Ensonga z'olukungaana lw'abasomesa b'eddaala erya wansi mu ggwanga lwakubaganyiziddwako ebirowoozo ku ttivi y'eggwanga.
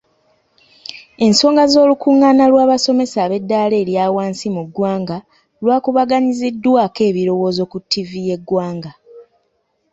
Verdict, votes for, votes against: accepted, 2, 1